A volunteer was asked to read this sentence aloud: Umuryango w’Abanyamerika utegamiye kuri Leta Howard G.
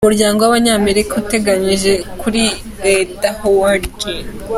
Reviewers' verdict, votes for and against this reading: rejected, 1, 2